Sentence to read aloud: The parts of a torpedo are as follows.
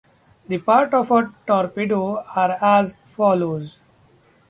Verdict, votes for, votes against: rejected, 0, 2